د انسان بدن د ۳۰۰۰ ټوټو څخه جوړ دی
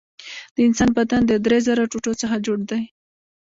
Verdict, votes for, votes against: rejected, 0, 2